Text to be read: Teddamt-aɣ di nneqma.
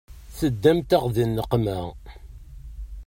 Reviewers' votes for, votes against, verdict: 2, 0, accepted